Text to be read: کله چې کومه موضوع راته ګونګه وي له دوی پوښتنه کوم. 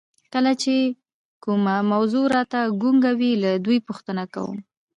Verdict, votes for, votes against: accepted, 3, 0